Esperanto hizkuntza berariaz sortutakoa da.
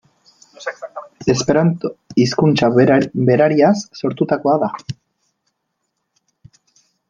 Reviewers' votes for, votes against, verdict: 0, 2, rejected